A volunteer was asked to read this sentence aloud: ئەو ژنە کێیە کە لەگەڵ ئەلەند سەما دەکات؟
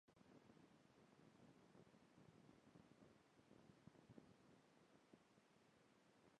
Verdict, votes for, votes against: rejected, 0, 2